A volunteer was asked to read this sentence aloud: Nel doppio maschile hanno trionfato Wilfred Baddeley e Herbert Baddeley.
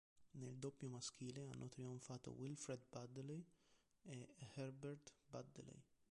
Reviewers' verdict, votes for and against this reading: rejected, 0, 2